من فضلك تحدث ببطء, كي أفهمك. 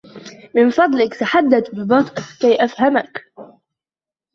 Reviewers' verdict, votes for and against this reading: accepted, 2, 1